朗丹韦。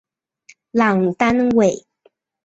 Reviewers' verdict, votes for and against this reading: accepted, 6, 0